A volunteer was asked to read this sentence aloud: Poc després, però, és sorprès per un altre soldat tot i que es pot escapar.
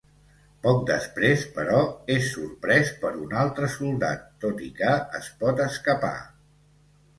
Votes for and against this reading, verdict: 2, 0, accepted